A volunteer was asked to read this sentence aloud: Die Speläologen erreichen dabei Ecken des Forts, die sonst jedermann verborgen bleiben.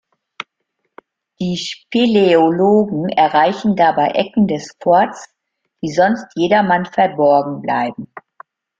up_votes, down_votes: 1, 2